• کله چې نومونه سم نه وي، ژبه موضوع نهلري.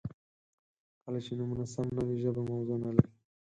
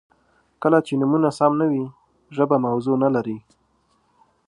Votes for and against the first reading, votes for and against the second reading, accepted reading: 2, 4, 2, 0, second